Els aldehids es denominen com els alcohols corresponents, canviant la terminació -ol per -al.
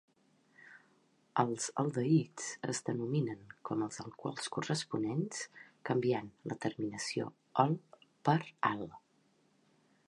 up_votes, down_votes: 2, 1